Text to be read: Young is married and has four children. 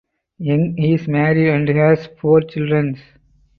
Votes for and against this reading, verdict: 4, 0, accepted